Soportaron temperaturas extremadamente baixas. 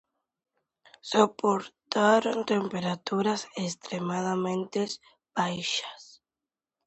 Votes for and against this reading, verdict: 0, 2, rejected